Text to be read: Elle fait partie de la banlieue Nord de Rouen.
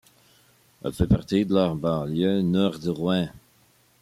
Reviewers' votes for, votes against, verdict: 1, 2, rejected